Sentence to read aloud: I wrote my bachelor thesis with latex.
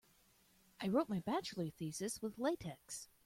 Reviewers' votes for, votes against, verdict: 2, 0, accepted